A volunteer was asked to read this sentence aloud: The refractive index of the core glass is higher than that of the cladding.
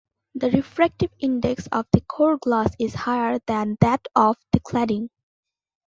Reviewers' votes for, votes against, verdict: 2, 0, accepted